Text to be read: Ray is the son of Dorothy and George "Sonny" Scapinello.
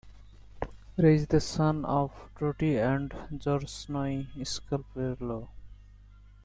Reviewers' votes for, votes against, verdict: 1, 2, rejected